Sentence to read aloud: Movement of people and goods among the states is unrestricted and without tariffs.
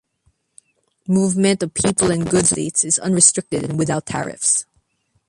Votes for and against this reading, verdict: 1, 2, rejected